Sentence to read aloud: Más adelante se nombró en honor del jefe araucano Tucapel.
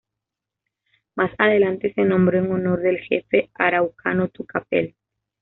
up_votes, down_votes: 2, 0